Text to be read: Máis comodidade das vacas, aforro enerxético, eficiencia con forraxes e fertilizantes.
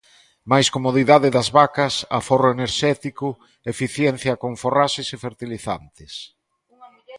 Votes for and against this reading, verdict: 2, 0, accepted